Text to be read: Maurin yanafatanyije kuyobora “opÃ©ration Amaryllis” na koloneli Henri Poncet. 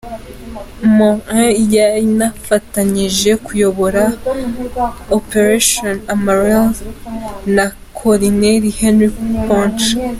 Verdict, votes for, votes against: rejected, 1, 2